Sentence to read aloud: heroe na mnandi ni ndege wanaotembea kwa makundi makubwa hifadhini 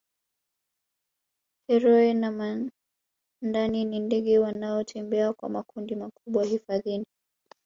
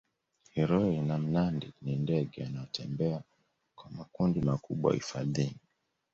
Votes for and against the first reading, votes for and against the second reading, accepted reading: 0, 2, 2, 0, second